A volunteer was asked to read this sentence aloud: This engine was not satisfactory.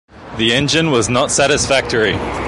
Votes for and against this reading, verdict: 0, 2, rejected